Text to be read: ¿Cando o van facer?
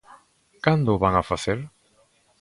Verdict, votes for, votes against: rejected, 1, 2